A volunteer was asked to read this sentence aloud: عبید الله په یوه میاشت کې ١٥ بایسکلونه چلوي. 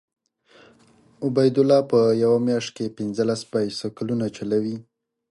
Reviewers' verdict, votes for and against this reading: rejected, 0, 2